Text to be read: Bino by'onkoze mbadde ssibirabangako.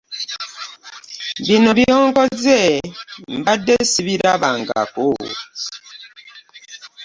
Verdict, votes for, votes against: accepted, 2, 0